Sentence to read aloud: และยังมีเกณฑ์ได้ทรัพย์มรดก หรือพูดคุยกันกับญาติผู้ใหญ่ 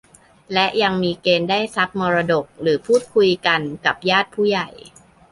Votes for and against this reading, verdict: 2, 0, accepted